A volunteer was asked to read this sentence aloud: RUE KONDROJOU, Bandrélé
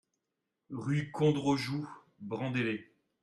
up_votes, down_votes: 1, 2